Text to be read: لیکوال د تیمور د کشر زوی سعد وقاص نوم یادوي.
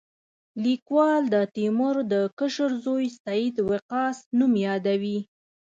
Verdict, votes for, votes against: accepted, 2, 0